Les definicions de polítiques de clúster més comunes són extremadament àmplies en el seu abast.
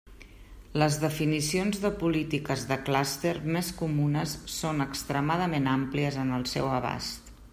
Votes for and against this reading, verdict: 2, 0, accepted